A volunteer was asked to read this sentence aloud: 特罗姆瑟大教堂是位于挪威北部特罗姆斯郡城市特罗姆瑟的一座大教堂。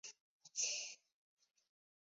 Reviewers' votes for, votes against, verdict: 1, 3, rejected